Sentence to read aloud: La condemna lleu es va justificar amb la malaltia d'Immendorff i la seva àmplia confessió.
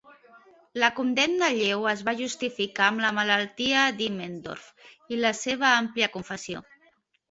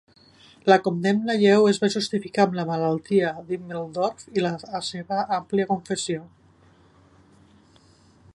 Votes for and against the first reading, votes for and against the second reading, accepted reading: 2, 0, 0, 2, first